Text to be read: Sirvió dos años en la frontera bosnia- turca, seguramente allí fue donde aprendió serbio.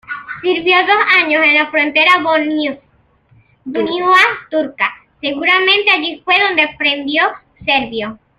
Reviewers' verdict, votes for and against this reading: rejected, 0, 2